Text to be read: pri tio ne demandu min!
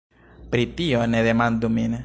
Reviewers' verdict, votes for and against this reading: rejected, 1, 2